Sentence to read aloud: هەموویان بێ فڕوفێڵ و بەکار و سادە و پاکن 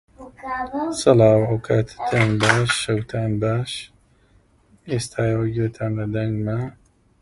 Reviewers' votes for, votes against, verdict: 0, 2, rejected